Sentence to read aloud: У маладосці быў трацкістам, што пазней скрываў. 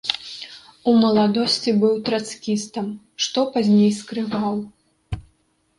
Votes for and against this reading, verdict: 2, 0, accepted